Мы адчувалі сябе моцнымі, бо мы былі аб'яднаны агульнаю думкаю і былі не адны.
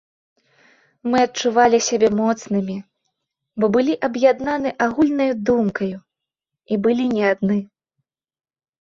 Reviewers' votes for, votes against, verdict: 2, 0, accepted